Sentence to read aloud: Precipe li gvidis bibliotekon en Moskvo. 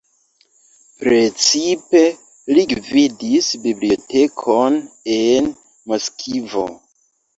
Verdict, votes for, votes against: rejected, 0, 2